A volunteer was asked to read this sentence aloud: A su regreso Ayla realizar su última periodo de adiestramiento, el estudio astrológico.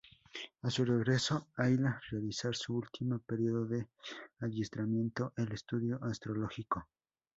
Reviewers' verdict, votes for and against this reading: accepted, 2, 0